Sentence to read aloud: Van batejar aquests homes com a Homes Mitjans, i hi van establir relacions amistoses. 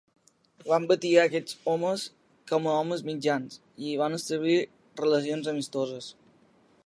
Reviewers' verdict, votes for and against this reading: rejected, 0, 2